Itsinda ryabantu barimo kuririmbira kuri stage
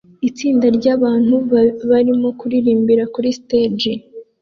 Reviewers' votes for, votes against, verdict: 2, 1, accepted